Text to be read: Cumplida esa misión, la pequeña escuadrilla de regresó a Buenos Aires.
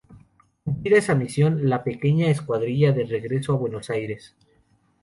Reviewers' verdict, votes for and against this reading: rejected, 0, 2